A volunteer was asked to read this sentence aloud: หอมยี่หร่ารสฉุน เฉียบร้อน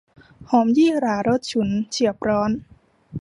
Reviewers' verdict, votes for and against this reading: accepted, 2, 0